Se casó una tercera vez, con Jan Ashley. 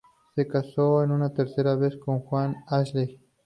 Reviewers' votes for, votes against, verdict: 0, 2, rejected